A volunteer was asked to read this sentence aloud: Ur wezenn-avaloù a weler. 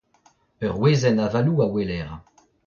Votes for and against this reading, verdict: 0, 3, rejected